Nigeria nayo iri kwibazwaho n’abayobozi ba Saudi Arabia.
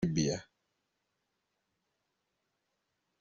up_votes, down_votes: 0, 2